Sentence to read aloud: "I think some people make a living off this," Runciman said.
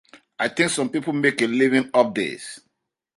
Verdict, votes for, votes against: rejected, 0, 2